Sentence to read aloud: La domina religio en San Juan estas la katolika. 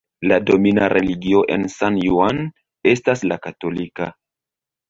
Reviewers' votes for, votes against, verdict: 2, 0, accepted